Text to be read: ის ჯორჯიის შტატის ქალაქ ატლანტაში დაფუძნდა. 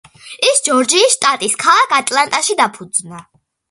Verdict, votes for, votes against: accepted, 2, 0